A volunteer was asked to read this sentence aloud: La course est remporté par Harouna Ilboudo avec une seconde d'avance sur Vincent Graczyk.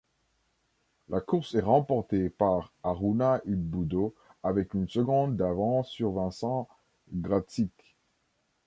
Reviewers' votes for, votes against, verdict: 2, 0, accepted